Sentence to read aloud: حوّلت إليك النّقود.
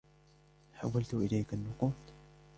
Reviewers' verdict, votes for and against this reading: rejected, 1, 2